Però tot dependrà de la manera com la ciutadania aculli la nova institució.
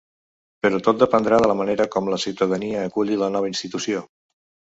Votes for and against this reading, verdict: 3, 0, accepted